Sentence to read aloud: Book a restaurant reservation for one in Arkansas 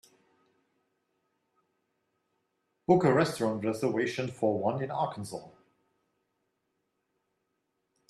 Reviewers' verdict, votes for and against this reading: rejected, 1, 2